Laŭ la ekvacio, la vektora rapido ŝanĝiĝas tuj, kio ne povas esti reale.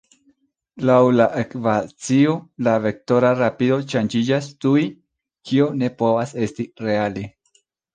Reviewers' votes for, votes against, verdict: 0, 2, rejected